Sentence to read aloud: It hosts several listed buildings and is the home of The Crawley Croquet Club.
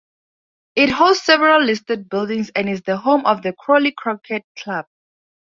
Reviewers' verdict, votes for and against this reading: accepted, 2, 0